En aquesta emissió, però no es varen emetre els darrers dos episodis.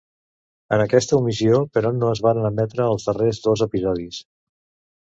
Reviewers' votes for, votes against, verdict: 1, 2, rejected